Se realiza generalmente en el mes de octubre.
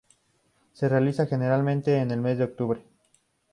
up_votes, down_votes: 2, 0